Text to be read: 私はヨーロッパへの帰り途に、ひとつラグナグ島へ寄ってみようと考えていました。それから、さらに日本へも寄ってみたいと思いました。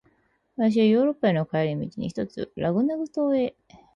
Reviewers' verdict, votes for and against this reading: rejected, 0, 4